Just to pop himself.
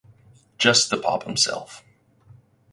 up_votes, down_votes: 2, 0